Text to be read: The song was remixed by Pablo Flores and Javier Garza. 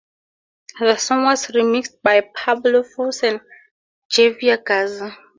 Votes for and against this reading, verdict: 0, 4, rejected